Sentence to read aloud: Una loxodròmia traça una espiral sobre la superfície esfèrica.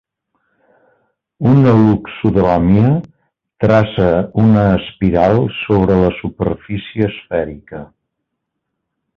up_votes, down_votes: 1, 2